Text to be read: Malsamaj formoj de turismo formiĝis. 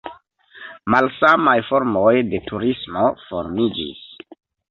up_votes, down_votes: 2, 0